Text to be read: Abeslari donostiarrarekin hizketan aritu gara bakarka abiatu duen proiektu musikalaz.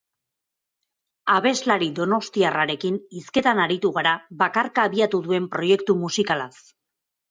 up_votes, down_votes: 2, 0